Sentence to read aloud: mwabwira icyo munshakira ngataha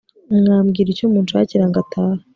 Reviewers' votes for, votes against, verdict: 2, 0, accepted